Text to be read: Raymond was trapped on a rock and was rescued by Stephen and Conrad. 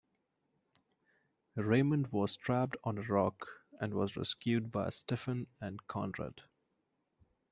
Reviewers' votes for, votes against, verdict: 1, 2, rejected